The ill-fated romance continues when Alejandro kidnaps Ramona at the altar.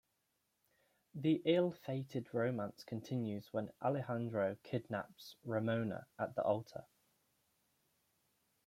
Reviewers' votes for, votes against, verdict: 2, 0, accepted